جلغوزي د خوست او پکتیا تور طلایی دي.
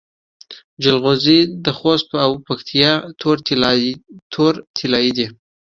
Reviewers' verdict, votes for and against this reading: accepted, 2, 1